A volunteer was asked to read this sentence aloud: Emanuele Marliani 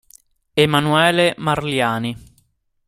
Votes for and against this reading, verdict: 2, 0, accepted